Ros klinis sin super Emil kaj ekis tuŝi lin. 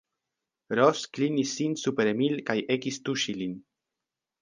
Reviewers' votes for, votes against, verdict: 2, 1, accepted